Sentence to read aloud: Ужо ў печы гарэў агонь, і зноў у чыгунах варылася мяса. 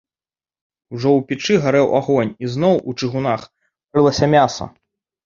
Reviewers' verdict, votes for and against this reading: rejected, 1, 2